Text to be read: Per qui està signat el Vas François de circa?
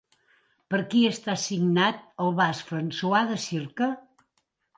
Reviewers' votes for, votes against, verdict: 2, 0, accepted